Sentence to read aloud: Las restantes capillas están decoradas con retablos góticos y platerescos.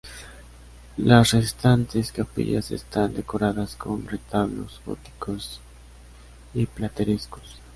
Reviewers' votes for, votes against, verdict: 2, 0, accepted